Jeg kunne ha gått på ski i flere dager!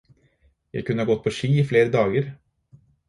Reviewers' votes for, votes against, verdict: 2, 2, rejected